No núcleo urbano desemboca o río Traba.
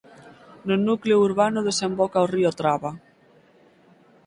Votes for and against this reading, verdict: 6, 0, accepted